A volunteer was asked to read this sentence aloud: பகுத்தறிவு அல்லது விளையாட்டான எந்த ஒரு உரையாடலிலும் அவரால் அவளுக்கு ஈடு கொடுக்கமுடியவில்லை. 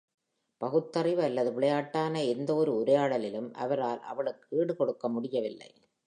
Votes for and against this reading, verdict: 2, 0, accepted